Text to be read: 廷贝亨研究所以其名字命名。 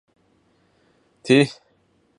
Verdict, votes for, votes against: rejected, 1, 5